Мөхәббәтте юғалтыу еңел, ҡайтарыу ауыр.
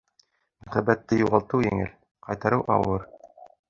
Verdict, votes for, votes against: rejected, 0, 2